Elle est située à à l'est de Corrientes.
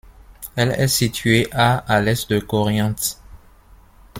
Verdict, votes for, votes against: accepted, 2, 0